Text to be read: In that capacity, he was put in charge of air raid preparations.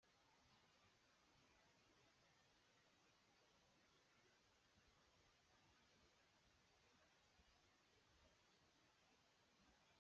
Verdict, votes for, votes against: rejected, 0, 2